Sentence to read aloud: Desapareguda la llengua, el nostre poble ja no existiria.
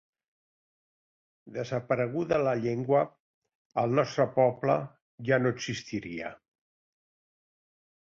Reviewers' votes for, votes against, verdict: 2, 0, accepted